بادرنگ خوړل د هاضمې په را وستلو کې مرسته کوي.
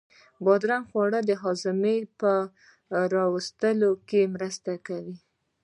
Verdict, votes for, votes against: accepted, 2, 0